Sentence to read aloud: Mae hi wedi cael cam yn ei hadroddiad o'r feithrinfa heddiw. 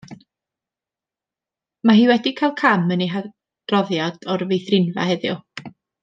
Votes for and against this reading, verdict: 1, 2, rejected